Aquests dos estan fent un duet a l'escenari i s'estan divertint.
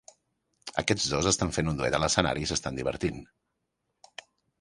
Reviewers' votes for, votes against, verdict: 3, 0, accepted